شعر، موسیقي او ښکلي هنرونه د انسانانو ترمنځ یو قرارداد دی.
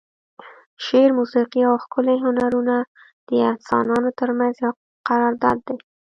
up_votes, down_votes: 1, 2